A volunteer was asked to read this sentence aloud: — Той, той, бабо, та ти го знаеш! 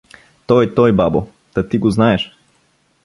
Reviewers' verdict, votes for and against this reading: accepted, 2, 0